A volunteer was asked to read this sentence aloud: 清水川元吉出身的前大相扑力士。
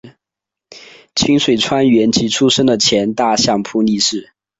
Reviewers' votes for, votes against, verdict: 2, 1, accepted